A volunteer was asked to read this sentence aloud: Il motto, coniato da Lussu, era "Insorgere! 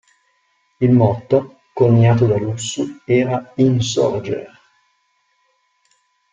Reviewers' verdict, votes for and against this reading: rejected, 1, 2